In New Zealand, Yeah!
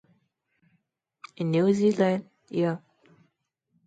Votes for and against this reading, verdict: 2, 2, rejected